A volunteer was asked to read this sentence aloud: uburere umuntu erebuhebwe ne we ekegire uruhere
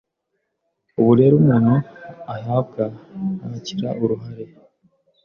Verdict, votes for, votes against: rejected, 0, 2